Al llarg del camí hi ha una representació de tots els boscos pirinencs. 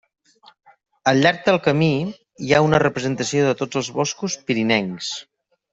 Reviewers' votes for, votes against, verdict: 3, 0, accepted